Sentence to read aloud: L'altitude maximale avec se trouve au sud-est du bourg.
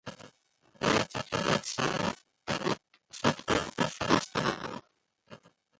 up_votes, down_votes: 0, 2